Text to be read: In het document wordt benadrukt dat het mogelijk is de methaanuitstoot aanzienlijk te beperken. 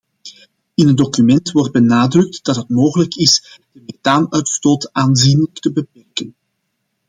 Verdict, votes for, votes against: rejected, 0, 2